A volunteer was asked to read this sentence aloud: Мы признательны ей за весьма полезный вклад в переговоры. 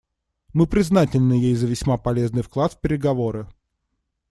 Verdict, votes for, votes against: accepted, 2, 0